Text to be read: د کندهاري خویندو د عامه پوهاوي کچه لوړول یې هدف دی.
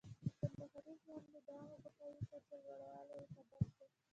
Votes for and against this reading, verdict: 1, 2, rejected